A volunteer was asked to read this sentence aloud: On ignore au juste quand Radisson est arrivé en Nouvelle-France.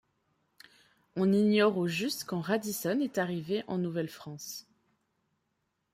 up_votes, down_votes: 2, 0